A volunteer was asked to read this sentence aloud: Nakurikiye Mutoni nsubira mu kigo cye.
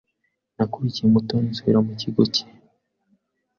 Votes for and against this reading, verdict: 2, 0, accepted